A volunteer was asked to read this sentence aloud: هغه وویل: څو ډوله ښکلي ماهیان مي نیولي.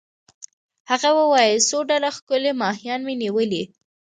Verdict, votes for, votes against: accepted, 2, 0